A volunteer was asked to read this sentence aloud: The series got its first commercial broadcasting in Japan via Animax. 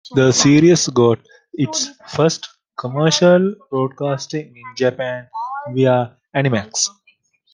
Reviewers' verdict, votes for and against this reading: accepted, 2, 1